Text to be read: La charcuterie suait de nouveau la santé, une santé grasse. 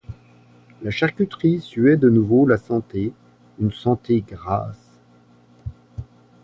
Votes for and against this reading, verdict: 2, 1, accepted